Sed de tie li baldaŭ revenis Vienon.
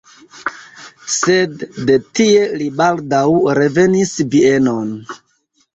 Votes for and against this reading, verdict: 0, 2, rejected